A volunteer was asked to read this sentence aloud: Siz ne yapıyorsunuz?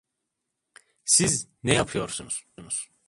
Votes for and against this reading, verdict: 0, 2, rejected